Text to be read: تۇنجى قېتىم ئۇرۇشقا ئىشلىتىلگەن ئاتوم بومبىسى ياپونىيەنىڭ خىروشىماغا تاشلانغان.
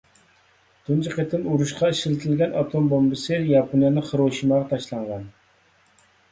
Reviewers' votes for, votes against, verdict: 2, 0, accepted